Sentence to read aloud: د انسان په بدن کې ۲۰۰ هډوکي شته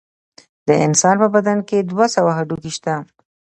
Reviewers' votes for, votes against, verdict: 0, 2, rejected